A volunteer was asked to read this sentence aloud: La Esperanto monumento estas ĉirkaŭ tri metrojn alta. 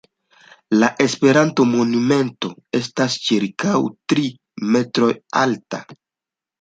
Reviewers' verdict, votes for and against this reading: accepted, 2, 1